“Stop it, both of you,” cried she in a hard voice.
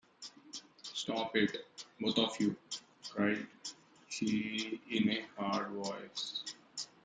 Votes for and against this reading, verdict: 0, 2, rejected